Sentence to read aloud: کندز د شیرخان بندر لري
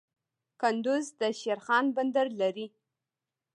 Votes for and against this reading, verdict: 0, 2, rejected